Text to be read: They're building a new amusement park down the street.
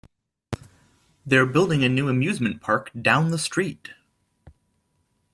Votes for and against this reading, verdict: 2, 0, accepted